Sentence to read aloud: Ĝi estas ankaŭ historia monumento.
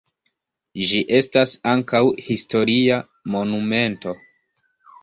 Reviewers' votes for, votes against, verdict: 1, 2, rejected